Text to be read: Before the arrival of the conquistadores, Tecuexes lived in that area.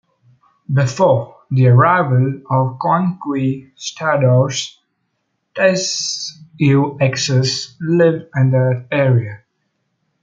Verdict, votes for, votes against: rejected, 0, 2